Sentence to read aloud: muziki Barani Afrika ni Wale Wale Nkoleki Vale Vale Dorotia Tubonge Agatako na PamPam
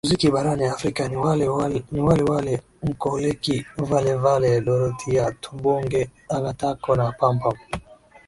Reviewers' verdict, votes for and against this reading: accepted, 7, 1